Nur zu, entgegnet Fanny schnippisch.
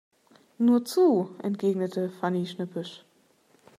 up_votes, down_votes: 2, 1